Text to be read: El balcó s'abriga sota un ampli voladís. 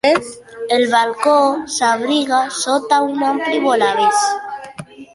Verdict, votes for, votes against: rejected, 0, 2